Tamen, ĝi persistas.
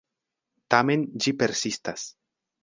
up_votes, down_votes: 1, 2